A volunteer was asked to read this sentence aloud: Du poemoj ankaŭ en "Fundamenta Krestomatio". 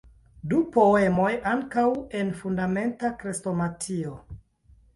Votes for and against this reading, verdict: 0, 2, rejected